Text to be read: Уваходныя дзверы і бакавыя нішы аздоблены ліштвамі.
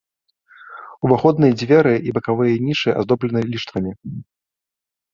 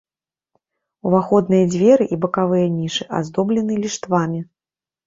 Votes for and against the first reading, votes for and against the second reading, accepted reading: 2, 0, 1, 2, first